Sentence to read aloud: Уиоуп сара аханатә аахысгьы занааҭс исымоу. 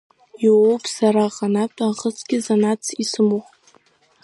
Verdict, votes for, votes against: rejected, 1, 2